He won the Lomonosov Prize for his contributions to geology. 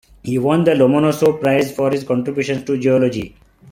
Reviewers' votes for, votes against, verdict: 0, 2, rejected